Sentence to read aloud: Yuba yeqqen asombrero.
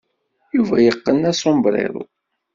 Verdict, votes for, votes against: accepted, 2, 0